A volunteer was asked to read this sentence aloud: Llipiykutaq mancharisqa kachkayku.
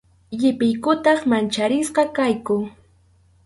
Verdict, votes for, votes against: rejected, 2, 2